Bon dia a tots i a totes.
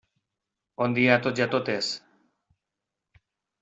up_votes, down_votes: 2, 0